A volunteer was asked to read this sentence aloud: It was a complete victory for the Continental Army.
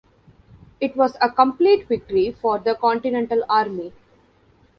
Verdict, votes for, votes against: accepted, 2, 0